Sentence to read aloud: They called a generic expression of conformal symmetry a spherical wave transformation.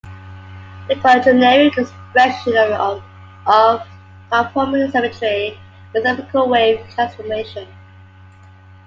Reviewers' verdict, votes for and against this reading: accepted, 2, 1